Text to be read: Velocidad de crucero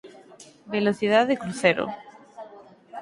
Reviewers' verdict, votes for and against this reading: rejected, 2, 4